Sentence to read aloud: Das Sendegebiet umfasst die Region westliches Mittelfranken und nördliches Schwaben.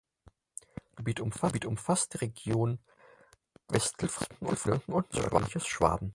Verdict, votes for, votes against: rejected, 2, 6